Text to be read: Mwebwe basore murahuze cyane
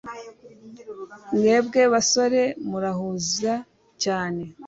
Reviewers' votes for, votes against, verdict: 0, 2, rejected